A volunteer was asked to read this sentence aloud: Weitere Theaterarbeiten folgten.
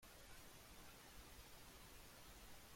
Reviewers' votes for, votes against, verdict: 0, 2, rejected